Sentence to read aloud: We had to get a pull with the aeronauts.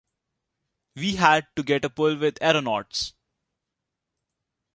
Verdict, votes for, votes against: rejected, 0, 2